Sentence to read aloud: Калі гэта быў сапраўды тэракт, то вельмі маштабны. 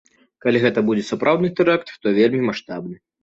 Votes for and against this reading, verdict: 0, 2, rejected